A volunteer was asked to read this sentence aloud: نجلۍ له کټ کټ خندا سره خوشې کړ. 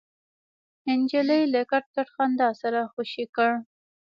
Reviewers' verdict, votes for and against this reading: accepted, 2, 1